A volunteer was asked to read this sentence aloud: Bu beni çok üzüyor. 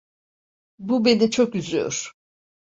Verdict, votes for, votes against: accepted, 2, 0